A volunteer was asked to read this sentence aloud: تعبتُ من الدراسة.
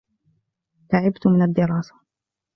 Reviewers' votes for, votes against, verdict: 2, 0, accepted